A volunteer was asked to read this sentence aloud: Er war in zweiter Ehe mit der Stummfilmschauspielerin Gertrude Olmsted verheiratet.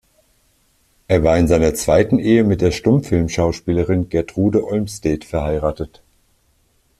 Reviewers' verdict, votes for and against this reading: rejected, 1, 2